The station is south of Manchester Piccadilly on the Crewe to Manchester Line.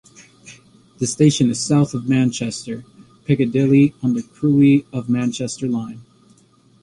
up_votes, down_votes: 3, 1